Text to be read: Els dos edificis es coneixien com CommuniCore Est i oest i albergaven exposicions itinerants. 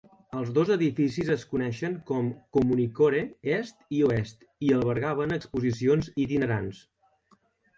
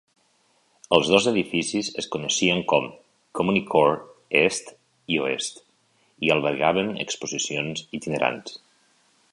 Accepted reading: second